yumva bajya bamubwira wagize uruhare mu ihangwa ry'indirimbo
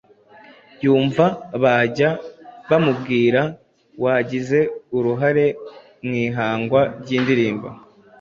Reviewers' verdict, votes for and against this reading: accepted, 2, 0